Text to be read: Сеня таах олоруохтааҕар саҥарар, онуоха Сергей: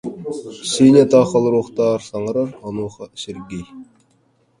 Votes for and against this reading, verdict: 0, 2, rejected